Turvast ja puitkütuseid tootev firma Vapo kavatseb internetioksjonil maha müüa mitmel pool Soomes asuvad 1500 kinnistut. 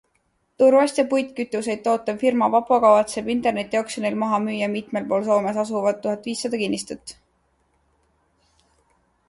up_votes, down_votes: 0, 2